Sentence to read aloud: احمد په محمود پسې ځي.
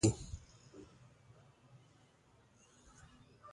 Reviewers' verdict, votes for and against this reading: rejected, 0, 2